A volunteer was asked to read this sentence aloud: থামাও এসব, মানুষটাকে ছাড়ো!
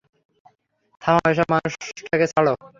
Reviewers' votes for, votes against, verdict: 0, 3, rejected